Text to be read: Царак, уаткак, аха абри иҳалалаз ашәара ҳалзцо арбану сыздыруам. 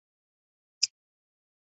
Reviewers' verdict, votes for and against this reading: rejected, 0, 2